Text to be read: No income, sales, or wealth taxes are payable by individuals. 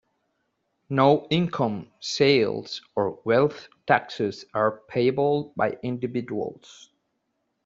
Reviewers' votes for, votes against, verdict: 2, 1, accepted